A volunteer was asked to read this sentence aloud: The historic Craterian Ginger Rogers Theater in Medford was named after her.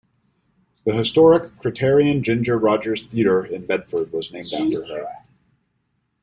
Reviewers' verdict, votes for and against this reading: rejected, 0, 2